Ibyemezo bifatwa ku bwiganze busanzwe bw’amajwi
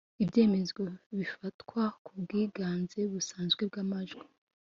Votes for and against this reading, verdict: 2, 0, accepted